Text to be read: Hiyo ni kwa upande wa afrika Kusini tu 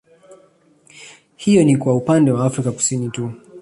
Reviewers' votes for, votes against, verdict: 2, 0, accepted